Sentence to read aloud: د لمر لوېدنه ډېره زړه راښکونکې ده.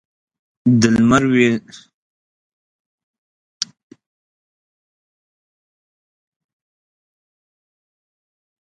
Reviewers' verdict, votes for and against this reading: rejected, 1, 2